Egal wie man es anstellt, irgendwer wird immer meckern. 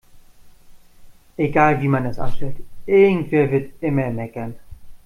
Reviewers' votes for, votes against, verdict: 2, 0, accepted